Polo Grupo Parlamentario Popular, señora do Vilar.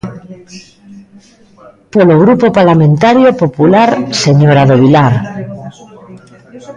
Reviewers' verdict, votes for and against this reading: rejected, 1, 2